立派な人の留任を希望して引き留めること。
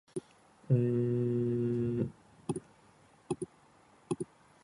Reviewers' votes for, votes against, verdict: 0, 2, rejected